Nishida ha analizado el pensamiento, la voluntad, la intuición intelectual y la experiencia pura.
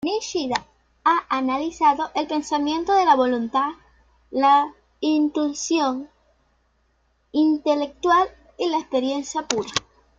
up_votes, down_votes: 0, 2